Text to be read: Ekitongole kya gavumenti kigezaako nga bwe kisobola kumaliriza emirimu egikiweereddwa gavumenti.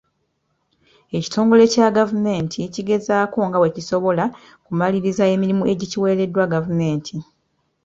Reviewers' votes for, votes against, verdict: 2, 0, accepted